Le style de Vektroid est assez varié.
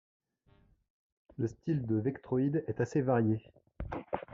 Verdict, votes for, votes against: rejected, 1, 2